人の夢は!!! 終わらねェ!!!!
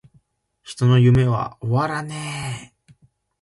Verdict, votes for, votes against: accepted, 2, 0